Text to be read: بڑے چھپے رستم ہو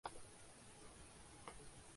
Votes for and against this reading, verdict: 1, 2, rejected